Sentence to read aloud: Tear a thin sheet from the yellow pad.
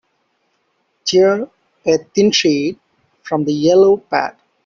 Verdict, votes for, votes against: accepted, 2, 0